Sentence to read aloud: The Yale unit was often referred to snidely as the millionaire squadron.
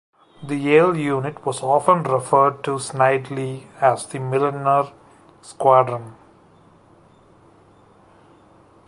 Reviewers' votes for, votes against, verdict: 1, 2, rejected